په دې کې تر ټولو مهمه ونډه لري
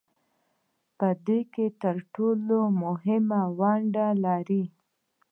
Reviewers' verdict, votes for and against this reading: accepted, 2, 0